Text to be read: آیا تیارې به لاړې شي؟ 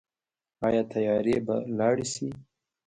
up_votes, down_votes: 1, 2